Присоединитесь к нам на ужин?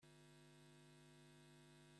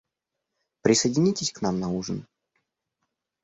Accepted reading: second